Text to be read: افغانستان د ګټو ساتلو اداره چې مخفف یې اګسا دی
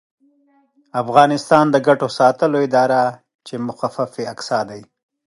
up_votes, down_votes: 2, 0